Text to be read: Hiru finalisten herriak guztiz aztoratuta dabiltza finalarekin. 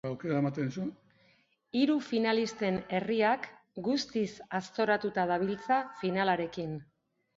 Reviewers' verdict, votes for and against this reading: accepted, 2, 1